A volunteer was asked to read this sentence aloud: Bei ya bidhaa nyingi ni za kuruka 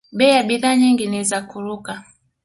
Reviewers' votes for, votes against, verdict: 2, 0, accepted